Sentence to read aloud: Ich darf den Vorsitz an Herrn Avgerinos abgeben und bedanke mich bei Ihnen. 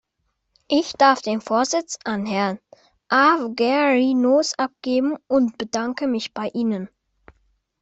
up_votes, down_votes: 2, 0